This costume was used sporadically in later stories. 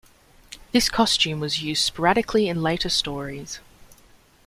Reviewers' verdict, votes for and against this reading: accepted, 2, 0